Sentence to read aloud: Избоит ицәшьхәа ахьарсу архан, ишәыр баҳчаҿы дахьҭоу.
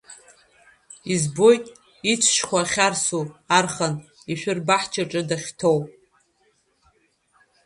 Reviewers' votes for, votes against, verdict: 3, 2, accepted